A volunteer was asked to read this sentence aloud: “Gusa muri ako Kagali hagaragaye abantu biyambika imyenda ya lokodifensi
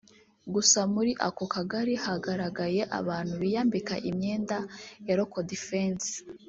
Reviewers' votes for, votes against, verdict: 0, 2, rejected